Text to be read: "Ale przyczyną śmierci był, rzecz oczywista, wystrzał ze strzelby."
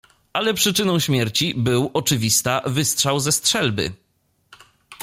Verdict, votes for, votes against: rejected, 1, 2